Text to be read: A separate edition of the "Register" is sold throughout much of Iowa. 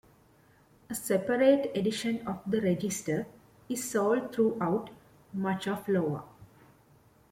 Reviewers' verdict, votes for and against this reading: rejected, 0, 2